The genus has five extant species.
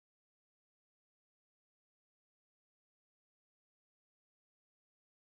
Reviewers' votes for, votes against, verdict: 0, 2, rejected